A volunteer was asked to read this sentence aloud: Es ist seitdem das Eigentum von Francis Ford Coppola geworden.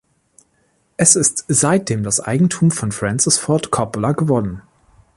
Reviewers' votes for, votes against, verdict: 1, 2, rejected